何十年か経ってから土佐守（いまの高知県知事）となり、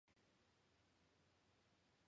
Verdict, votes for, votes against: rejected, 0, 2